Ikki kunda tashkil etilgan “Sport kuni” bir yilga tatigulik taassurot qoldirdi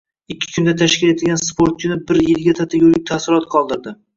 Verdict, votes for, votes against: rejected, 1, 2